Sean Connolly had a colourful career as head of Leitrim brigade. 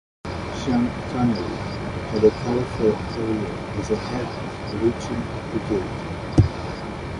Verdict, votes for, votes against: rejected, 0, 2